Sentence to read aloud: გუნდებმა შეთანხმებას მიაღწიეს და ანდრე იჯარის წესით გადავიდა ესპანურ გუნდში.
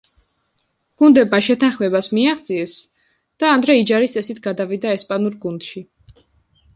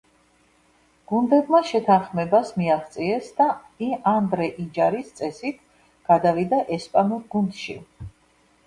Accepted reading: first